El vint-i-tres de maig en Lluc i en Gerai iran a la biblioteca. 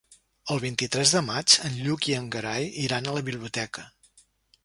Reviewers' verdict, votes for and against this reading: rejected, 0, 2